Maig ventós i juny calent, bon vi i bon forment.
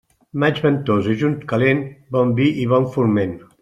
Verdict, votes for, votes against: accepted, 2, 0